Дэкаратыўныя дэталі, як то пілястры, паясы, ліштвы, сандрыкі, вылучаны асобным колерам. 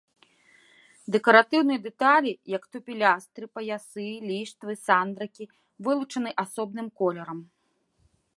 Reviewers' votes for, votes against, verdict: 2, 0, accepted